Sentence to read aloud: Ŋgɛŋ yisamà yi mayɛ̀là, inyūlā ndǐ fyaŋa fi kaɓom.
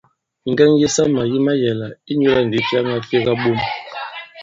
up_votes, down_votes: 1, 2